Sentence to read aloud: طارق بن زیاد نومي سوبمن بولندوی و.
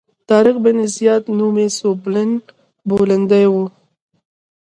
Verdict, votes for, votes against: accepted, 3, 1